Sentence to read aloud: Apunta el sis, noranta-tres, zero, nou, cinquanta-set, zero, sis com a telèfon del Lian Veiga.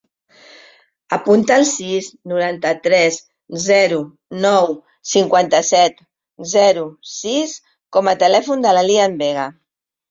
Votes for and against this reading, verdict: 1, 2, rejected